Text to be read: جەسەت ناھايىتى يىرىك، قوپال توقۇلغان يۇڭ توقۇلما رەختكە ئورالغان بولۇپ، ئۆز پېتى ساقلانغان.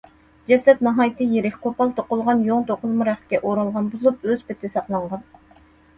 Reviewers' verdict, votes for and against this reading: accepted, 2, 0